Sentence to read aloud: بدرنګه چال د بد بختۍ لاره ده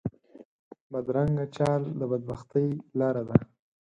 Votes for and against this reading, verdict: 4, 0, accepted